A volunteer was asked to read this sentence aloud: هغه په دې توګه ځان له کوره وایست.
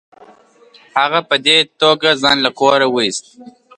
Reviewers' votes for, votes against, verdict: 2, 0, accepted